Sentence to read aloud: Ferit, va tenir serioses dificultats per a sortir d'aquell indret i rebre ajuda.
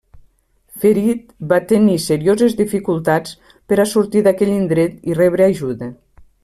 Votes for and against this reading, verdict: 3, 0, accepted